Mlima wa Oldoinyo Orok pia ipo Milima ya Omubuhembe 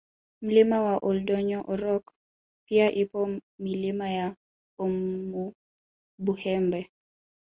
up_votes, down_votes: 1, 2